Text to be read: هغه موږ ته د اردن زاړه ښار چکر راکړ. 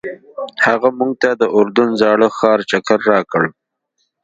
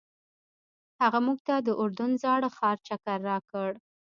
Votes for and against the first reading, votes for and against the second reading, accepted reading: 2, 0, 1, 2, first